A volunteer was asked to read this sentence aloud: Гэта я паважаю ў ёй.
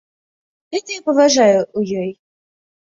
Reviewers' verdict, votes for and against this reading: rejected, 1, 2